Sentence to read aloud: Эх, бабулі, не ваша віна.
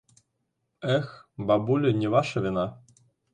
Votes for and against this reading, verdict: 2, 0, accepted